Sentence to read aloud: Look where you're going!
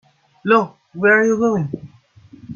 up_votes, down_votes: 3, 4